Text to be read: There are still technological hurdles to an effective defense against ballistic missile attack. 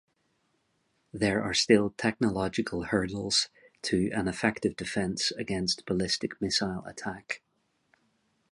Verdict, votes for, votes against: accepted, 2, 0